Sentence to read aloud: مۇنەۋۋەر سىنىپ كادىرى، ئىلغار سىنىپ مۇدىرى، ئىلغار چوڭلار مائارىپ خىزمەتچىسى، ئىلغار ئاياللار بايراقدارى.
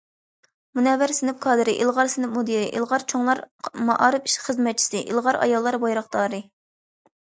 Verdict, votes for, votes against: accepted, 2, 0